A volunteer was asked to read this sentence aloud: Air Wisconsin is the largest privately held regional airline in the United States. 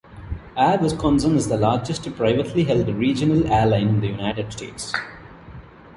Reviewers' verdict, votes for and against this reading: accepted, 2, 1